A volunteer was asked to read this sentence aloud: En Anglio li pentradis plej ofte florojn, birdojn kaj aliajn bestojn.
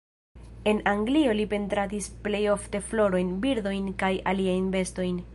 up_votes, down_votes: 2, 0